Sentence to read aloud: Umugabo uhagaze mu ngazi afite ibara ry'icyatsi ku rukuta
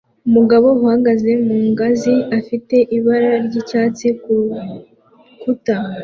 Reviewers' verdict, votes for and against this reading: accepted, 2, 0